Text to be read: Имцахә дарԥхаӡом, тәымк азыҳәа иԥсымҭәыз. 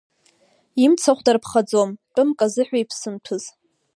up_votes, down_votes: 3, 1